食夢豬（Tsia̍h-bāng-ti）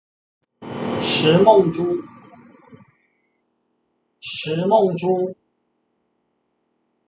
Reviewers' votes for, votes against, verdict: 0, 2, rejected